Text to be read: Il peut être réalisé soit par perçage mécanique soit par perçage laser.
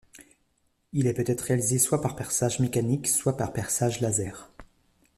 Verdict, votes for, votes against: rejected, 1, 2